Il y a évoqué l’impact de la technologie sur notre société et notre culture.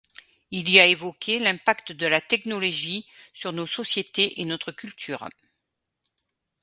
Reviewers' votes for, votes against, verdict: 0, 2, rejected